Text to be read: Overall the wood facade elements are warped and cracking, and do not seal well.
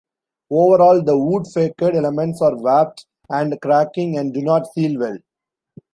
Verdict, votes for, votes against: rejected, 0, 2